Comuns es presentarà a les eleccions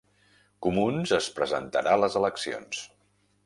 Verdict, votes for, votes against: rejected, 0, 2